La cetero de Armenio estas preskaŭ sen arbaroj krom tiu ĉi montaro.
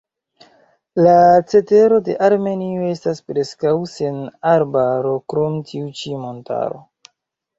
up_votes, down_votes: 0, 2